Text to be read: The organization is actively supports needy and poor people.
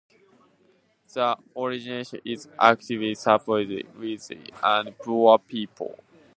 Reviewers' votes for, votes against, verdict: 0, 2, rejected